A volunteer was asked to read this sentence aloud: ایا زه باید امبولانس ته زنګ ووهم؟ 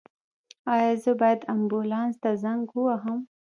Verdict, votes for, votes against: accepted, 2, 1